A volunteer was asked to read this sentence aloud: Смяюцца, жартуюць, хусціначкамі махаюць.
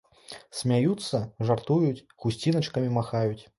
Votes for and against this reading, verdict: 2, 0, accepted